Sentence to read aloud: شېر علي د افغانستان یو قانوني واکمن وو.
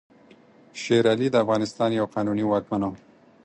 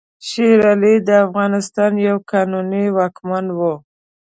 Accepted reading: first